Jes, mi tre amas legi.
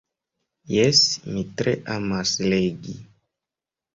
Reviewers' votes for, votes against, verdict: 2, 0, accepted